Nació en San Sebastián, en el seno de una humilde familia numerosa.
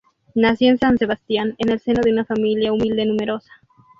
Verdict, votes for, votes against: rejected, 0, 2